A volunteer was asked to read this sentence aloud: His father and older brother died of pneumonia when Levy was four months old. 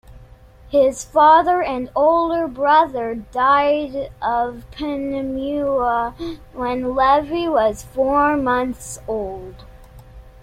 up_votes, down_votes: 0, 2